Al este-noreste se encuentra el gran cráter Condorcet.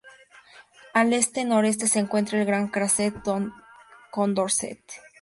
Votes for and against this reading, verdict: 2, 0, accepted